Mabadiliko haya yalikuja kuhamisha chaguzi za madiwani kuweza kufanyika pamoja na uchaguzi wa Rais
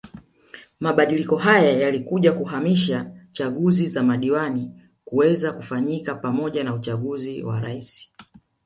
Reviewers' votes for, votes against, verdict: 2, 1, accepted